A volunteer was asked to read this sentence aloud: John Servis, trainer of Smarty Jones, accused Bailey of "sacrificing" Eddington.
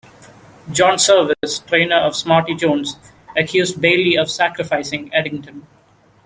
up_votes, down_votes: 2, 1